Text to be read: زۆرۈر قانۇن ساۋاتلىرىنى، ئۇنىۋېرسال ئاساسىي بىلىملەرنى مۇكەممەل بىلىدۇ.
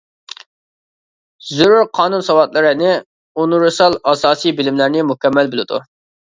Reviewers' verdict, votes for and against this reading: accepted, 2, 0